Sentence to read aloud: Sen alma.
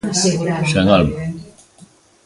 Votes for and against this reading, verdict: 0, 2, rejected